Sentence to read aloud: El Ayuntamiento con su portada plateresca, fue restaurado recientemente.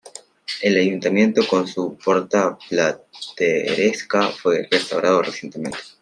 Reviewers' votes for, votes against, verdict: 0, 2, rejected